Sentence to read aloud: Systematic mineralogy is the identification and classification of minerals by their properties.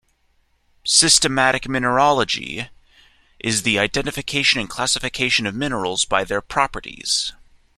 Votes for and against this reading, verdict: 2, 0, accepted